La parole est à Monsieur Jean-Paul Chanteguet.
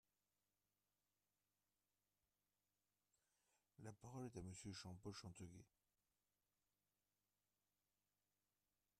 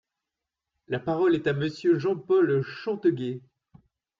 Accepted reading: second